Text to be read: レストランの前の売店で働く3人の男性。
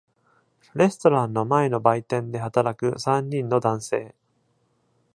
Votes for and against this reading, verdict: 0, 2, rejected